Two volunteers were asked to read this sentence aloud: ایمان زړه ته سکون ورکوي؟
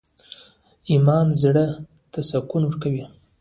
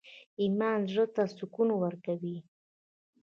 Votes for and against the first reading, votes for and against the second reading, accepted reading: 2, 1, 1, 2, first